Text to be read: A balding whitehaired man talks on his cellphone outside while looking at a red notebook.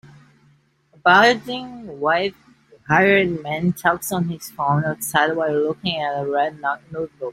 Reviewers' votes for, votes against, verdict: 0, 2, rejected